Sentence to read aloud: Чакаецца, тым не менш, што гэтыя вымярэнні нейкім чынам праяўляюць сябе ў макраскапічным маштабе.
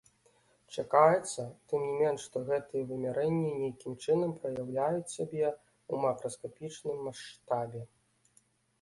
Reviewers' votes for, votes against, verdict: 2, 1, accepted